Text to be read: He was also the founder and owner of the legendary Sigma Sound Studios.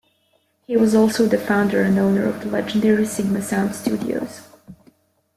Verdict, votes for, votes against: accepted, 2, 0